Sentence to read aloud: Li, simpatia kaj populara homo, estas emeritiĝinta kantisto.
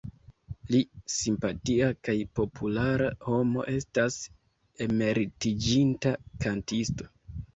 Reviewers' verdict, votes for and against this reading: accepted, 2, 0